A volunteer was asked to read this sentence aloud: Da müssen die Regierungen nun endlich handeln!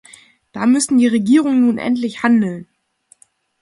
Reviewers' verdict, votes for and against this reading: accepted, 2, 0